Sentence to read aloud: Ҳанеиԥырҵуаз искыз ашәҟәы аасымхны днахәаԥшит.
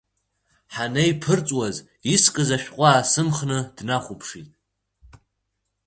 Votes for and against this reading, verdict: 3, 0, accepted